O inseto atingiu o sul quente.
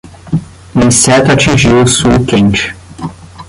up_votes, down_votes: 0, 10